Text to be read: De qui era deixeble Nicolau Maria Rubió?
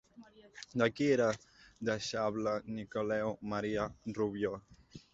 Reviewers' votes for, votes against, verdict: 2, 0, accepted